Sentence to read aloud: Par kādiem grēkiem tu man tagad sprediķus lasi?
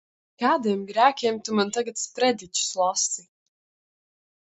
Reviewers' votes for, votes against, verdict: 1, 2, rejected